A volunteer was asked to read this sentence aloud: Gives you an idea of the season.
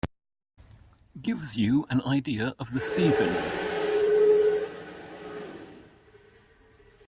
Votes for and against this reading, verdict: 0, 2, rejected